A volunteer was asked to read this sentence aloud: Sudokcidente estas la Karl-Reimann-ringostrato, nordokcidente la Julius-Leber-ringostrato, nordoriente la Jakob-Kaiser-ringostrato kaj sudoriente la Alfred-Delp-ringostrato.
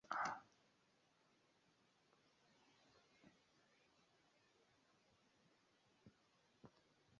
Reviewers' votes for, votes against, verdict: 0, 3, rejected